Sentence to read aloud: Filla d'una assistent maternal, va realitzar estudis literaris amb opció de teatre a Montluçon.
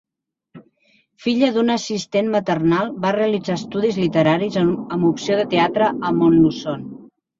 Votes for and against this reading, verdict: 3, 0, accepted